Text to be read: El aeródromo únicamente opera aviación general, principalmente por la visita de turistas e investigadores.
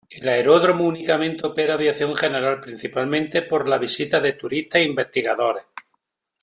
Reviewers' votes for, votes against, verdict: 2, 1, accepted